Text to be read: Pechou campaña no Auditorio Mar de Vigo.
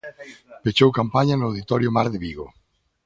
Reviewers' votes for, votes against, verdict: 2, 0, accepted